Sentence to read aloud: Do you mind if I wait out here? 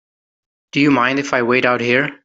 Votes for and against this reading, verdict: 3, 0, accepted